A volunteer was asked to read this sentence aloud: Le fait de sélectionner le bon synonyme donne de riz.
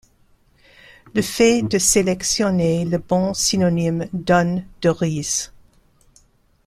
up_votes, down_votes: 2, 1